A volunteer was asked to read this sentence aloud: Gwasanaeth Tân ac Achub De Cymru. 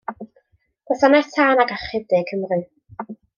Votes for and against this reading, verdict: 2, 0, accepted